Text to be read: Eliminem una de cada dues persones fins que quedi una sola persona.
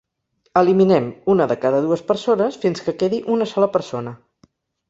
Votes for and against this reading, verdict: 4, 0, accepted